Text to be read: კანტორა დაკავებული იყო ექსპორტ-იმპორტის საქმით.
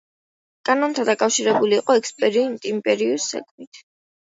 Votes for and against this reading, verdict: 0, 2, rejected